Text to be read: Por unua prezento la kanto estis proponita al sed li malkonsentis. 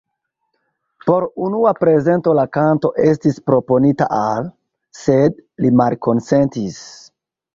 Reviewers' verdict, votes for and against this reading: accepted, 2, 0